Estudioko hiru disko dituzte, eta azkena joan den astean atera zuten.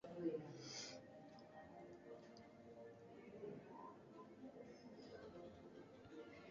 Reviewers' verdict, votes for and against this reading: rejected, 1, 2